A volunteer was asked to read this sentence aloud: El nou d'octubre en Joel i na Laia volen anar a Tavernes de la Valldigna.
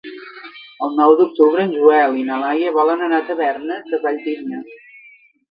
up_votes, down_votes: 1, 2